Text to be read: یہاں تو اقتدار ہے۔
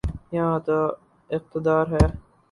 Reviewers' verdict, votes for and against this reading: rejected, 0, 2